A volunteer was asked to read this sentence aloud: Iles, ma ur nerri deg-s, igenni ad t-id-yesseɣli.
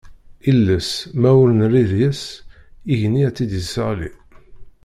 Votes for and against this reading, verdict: 1, 2, rejected